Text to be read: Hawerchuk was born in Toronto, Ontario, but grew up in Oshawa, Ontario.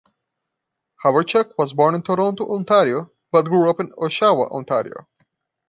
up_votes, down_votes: 2, 0